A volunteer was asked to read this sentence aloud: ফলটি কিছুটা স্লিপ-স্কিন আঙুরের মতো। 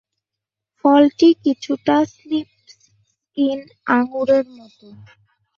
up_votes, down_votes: 1, 6